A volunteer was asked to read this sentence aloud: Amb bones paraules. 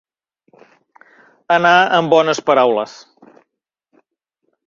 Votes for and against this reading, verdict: 0, 2, rejected